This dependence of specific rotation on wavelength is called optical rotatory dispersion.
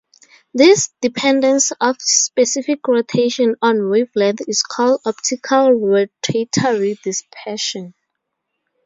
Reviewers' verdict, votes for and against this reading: accepted, 2, 0